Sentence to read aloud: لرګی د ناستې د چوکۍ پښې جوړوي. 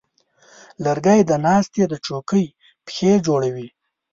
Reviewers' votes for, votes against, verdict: 2, 0, accepted